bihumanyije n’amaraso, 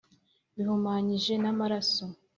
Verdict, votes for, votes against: accepted, 2, 0